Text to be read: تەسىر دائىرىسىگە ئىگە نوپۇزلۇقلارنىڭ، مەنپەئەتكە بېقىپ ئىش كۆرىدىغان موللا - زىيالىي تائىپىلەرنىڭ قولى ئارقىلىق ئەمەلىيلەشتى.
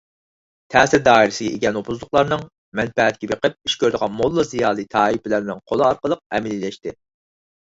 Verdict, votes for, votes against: accepted, 6, 0